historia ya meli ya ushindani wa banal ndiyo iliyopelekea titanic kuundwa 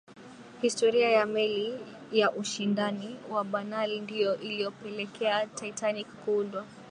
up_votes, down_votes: 3, 0